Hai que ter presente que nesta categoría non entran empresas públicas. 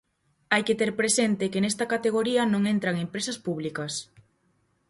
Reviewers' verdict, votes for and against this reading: accepted, 4, 0